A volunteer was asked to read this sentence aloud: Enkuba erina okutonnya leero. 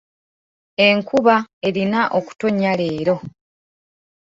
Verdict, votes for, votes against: accepted, 2, 0